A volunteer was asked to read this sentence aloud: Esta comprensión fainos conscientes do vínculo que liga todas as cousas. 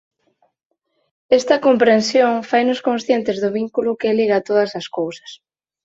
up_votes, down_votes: 4, 0